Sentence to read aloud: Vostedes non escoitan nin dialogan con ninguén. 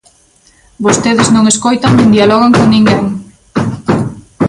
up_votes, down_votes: 2, 0